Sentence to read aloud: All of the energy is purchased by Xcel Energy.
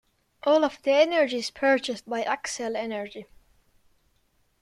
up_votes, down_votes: 2, 0